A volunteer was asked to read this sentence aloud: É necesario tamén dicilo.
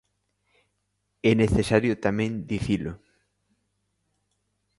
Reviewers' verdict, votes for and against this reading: accepted, 2, 0